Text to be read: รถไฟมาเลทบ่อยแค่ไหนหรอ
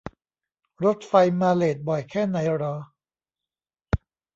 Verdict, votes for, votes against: accepted, 2, 0